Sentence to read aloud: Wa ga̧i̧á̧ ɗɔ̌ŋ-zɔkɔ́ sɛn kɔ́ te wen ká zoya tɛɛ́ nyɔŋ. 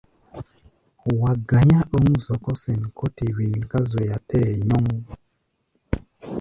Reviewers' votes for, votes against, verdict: 1, 2, rejected